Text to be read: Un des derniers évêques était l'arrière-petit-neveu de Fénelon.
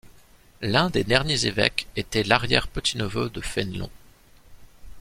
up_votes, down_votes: 1, 2